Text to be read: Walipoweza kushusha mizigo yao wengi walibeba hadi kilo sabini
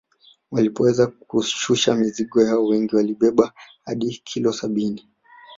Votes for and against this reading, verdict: 2, 0, accepted